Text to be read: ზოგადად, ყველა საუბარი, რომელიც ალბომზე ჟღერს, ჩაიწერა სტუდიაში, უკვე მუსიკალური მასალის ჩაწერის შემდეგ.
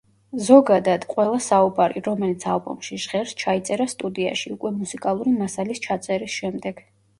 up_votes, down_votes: 0, 2